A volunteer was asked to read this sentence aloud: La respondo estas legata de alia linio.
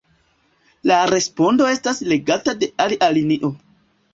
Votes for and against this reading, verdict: 2, 1, accepted